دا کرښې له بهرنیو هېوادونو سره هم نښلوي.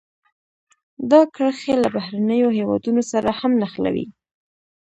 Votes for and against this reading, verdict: 2, 0, accepted